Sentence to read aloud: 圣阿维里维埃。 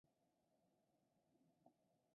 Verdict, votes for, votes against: accepted, 4, 2